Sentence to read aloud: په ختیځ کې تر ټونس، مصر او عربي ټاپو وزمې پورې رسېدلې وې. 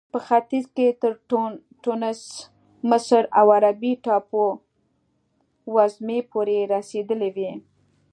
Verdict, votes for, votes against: accepted, 2, 0